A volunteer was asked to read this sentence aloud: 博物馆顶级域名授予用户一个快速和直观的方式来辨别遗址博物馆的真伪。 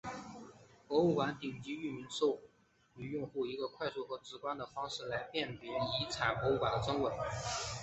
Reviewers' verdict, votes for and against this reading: rejected, 1, 2